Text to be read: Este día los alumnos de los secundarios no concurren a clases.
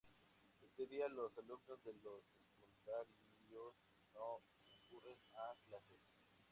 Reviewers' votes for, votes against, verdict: 0, 2, rejected